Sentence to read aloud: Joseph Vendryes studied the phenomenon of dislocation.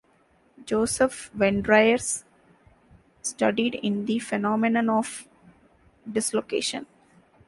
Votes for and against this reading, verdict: 0, 2, rejected